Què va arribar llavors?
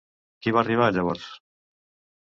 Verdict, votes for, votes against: rejected, 0, 2